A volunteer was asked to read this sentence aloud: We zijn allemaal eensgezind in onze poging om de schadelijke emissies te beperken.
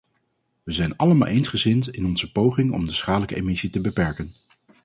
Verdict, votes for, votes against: rejected, 0, 2